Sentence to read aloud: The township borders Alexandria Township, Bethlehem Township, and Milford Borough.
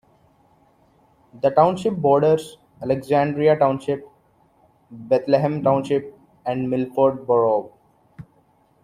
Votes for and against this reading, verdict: 2, 1, accepted